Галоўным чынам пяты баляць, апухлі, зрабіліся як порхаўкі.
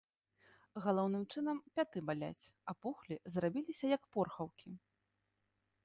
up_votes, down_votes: 2, 0